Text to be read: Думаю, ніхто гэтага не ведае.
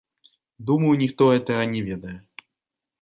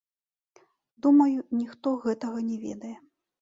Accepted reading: first